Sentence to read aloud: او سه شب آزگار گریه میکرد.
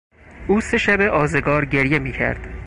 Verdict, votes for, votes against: accepted, 4, 0